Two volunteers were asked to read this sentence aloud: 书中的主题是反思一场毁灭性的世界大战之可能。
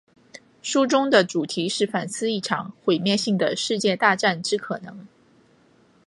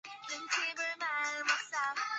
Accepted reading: first